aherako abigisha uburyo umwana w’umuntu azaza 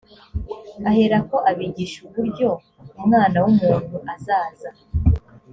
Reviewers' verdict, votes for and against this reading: accepted, 2, 0